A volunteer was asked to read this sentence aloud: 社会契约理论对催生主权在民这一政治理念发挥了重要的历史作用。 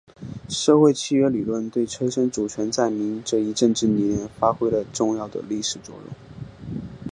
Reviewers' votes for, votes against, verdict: 4, 0, accepted